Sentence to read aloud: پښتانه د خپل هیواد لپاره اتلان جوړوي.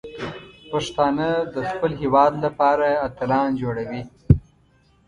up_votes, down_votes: 1, 2